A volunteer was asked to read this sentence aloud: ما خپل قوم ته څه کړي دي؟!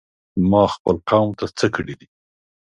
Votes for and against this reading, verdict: 2, 0, accepted